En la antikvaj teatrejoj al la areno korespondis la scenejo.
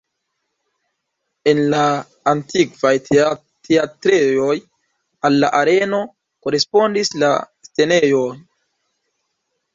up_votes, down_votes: 0, 2